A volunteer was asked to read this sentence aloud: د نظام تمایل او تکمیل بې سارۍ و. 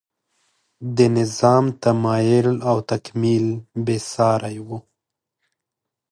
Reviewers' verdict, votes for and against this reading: accepted, 2, 0